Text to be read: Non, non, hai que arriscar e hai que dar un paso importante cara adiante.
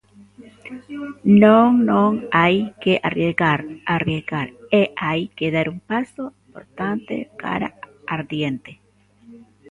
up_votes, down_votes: 0, 2